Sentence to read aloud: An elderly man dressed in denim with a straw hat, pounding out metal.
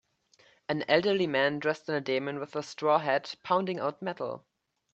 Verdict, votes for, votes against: accepted, 2, 0